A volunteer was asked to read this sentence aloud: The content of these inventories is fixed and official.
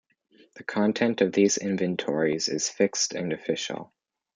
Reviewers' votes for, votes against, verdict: 2, 0, accepted